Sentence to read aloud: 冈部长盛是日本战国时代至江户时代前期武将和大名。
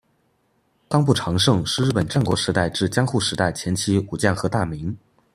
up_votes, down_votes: 2, 0